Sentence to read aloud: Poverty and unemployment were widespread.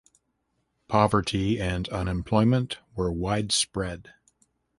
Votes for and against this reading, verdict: 2, 0, accepted